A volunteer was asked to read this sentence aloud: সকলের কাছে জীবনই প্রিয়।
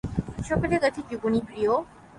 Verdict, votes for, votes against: accepted, 3, 0